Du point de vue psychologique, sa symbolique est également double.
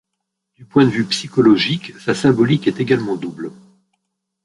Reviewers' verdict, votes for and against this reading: rejected, 0, 2